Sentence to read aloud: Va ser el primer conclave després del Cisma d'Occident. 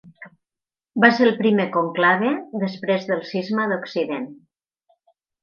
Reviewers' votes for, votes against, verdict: 4, 0, accepted